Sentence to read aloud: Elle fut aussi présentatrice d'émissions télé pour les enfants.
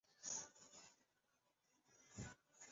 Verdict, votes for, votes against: rejected, 1, 2